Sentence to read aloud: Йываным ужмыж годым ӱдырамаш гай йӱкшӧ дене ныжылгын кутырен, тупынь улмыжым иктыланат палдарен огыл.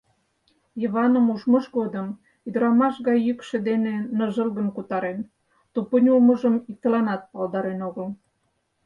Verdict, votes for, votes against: rejected, 0, 4